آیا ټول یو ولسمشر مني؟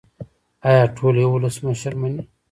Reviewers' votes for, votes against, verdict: 1, 2, rejected